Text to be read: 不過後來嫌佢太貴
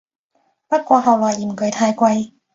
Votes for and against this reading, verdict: 2, 0, accepted